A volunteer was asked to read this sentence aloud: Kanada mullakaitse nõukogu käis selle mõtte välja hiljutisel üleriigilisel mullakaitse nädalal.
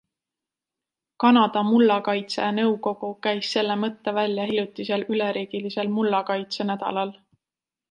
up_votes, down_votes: 2, 0